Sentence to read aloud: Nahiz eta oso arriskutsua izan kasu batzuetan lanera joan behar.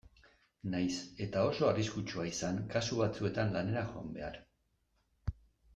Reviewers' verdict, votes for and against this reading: accepted, 2, 1